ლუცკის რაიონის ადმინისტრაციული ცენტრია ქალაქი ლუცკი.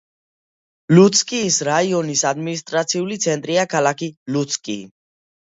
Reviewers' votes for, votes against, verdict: 2, 1, accepted